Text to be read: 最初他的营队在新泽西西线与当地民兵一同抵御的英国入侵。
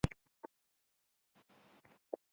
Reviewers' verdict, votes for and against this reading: accepted, 2, 0